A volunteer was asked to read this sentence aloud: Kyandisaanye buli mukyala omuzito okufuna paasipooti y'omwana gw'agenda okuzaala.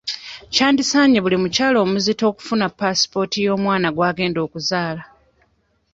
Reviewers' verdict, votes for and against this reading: accepted, 2, 0